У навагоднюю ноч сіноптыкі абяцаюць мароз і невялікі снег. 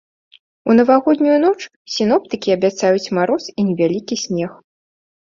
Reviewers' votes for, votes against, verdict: 2, 0, accepted